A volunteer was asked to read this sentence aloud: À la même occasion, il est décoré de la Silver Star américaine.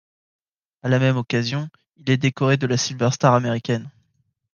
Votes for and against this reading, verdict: 2, 0, accepted